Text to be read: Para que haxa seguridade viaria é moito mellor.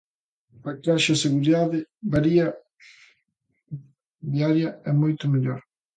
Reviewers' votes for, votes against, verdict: 0, 2, rejected